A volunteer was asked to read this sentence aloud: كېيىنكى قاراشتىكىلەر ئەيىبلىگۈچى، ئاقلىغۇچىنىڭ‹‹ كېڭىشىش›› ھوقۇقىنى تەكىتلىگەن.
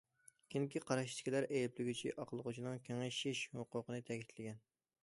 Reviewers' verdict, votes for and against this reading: accepted, 2, 1